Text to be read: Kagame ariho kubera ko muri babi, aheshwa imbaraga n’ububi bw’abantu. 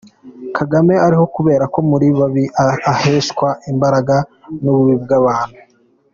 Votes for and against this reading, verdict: 1, 2, rejected